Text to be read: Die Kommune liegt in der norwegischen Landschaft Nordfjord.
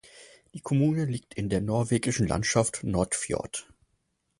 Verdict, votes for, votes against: accepted, 4, 0